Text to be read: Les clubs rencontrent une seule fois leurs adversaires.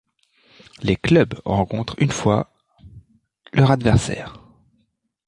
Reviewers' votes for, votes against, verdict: 0, 2, rejected